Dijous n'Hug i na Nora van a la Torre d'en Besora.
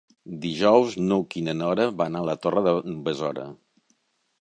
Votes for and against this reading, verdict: 3, 0, accepted